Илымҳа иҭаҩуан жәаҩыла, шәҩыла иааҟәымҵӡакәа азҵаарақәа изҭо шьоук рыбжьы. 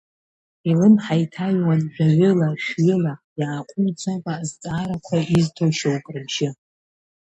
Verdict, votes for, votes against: rejected, 1, 2